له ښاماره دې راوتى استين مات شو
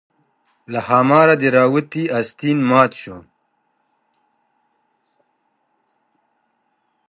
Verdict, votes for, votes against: rejected, 0, 2